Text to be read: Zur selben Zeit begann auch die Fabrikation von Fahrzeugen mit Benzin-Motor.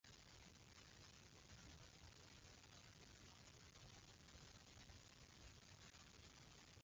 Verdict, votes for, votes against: rejected, 0, 2